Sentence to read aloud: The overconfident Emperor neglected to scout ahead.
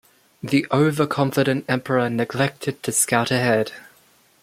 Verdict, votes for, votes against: accepted, 2, 0